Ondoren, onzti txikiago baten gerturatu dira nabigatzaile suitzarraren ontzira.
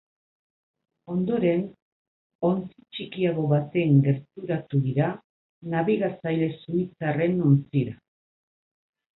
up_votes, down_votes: 2, 4